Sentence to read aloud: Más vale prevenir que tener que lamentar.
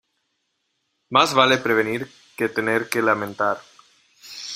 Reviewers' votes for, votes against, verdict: 2, 0, accepted